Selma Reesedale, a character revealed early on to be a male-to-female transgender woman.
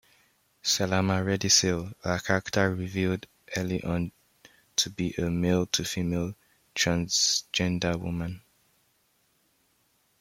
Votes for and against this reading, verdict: 0, 2, rejected